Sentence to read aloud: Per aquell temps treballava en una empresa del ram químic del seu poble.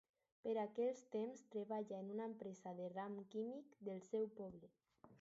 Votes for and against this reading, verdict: 2, 4, rejected